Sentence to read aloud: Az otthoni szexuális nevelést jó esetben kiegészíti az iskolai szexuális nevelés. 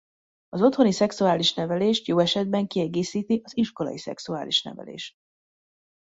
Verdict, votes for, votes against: rejected, 0, 2